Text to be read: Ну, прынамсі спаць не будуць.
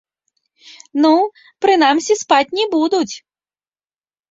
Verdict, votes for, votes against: accepted, 2, 1